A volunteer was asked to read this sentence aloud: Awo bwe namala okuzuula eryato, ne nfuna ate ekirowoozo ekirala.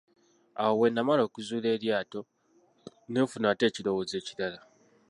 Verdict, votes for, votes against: accepted, 2, 0